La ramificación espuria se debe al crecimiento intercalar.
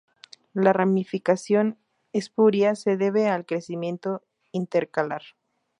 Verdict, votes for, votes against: accepted, 2, 0